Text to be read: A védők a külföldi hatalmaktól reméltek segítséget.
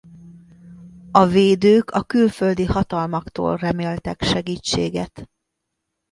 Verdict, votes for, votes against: accepted, 2, 0